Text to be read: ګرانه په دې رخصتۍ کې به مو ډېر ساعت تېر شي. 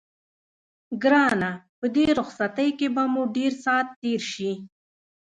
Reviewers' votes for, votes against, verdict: 1, 2, rejected